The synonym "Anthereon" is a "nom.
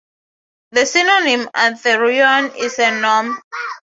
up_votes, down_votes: 3, 0